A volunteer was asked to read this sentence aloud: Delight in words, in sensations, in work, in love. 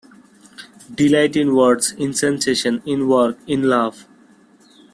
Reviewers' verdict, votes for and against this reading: rejected, 1, 2